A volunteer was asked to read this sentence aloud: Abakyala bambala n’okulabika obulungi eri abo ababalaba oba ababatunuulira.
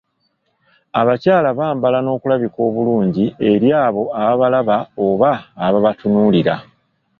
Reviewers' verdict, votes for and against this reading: accepted, 2, 0